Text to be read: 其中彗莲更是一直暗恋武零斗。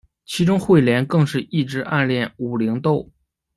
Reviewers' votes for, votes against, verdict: 2, 0, accepted